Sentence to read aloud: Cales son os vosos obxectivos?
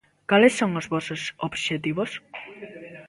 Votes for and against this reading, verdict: 0, 2, rejected